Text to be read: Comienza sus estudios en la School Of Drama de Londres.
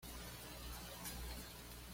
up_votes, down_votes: 1, 2